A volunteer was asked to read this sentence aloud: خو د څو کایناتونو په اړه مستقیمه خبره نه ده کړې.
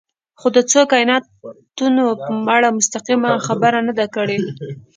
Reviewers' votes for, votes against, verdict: 0, 2, rejected